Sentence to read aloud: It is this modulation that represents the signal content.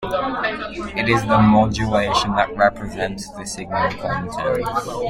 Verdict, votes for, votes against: rejected, 1, 2